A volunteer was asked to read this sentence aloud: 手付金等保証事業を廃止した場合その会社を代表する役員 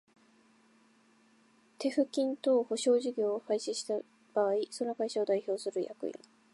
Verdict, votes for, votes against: rejected, 0, 2